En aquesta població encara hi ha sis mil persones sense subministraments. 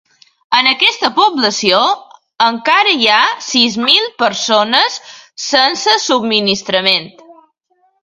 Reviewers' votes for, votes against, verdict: 2, 0, accepted